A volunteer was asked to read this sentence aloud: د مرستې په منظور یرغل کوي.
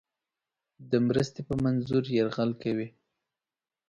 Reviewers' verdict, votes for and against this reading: accepted, 2, 0